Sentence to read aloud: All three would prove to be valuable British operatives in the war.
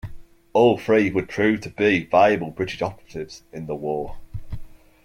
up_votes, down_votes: 2, 0